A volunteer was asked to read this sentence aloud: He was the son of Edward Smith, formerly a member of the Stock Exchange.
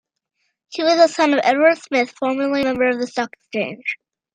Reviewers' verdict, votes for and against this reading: rejected, 0, 2